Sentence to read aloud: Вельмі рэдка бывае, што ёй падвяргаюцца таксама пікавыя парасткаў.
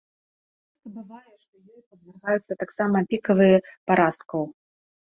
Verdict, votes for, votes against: rejected, 0, 2